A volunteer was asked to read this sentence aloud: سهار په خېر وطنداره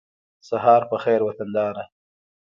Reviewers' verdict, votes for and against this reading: rejected, 1, 2